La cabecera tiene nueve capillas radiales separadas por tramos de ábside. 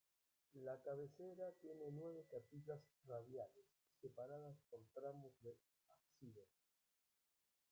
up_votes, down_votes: 0, 2